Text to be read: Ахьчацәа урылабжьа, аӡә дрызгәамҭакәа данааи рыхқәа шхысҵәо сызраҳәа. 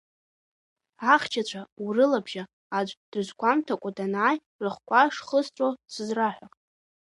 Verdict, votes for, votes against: rejected, 0, 2